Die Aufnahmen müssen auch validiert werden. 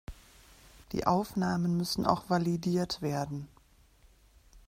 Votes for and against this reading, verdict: 2, 0, accepted